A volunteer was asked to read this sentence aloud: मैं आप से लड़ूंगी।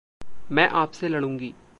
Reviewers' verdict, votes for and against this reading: accepted, 2, 0